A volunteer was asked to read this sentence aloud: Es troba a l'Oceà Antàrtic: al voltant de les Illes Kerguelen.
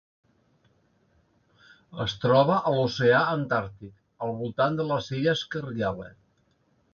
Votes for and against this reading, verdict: 1, 2, rejected